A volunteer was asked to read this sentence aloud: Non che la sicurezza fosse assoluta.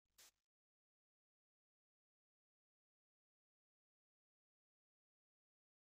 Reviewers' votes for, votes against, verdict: 0, 2, rejected